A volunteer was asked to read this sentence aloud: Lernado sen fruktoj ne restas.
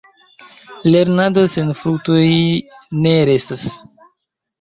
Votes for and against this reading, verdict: 2, 0, accepted